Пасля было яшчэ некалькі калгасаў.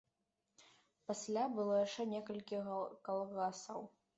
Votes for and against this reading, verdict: 0, 2, rejected